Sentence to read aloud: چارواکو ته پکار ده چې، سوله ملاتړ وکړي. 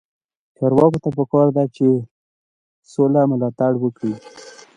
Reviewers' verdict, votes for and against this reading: accepted, 2, 0